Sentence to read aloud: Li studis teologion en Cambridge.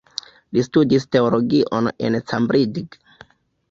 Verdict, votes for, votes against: accepted, 2, 1